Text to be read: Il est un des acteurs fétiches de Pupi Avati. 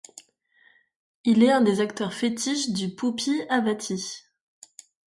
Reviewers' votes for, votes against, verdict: 0, 2, rejected